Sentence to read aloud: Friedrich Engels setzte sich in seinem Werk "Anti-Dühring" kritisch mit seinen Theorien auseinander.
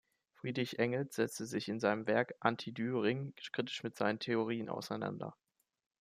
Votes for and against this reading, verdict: 2, 0, accepted